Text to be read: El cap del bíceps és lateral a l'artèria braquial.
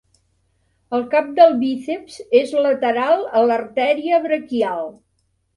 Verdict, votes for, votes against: rejected, 1, 2